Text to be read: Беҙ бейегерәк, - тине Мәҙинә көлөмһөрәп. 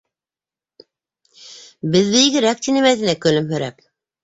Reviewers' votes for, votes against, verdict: 0, 2, rejected